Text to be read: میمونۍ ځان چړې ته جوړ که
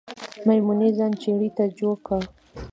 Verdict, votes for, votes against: accepted, 2, 0